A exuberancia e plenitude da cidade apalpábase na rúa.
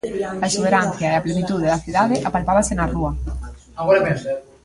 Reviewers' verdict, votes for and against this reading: rejected, 0, 2